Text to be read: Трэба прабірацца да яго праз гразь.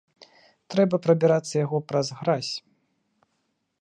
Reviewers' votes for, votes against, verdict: 0, 2, rejected